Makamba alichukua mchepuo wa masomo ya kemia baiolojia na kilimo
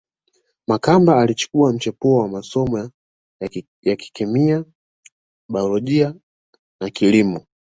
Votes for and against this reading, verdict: 1, 2, rejected